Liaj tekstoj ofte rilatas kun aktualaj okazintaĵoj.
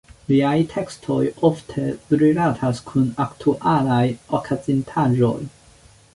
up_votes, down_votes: 0, 2